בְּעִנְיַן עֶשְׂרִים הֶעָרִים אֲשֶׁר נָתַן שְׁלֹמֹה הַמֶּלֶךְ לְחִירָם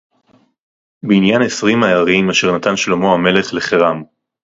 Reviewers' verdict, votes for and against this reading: accepted, 4, 0